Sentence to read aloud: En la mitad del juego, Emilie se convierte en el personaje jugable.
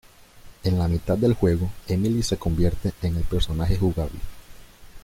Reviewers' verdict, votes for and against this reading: accepted, 2, 0